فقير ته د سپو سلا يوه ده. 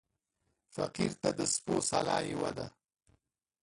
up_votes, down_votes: 1, 2